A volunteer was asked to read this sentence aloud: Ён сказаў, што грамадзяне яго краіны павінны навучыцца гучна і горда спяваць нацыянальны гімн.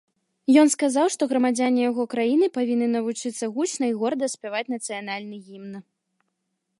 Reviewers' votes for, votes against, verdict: 2, 0, accepted